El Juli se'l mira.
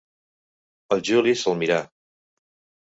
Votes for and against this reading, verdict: 1, 2, rejected